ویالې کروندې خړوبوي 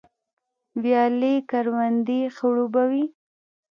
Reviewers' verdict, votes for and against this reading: accepted, 2, 0